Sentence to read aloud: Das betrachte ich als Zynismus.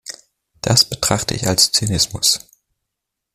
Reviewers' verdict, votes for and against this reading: accepted, 2, 0